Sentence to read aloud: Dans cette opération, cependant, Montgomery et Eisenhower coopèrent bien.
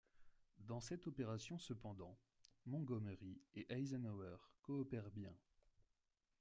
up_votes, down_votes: 2, 1